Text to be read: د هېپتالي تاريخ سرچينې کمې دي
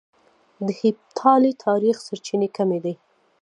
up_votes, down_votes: 2, 0